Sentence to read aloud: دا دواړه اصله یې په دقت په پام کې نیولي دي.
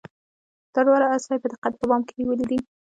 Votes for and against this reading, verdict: 1, 2, rejected